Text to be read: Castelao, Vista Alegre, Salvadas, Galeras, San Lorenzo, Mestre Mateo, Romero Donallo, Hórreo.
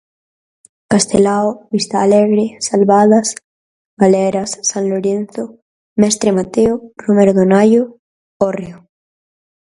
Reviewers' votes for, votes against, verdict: 4, 0, accepted